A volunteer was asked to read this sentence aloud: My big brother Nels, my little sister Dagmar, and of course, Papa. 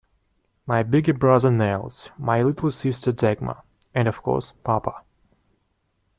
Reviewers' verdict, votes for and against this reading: accepted, 2, 0